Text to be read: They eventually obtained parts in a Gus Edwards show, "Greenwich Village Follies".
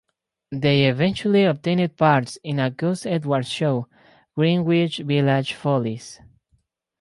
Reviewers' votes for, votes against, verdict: 2, 2, rejected